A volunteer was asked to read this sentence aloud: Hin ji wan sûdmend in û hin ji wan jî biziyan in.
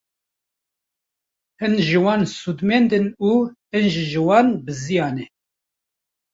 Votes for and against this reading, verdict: 1, 2, rejected